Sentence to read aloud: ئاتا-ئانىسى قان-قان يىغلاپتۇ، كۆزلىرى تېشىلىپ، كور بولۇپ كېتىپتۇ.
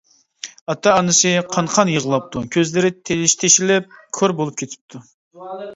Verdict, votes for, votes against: rejected, 0, 2